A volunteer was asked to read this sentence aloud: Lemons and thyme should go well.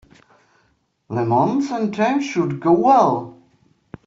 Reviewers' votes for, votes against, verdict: 1, 2, rejected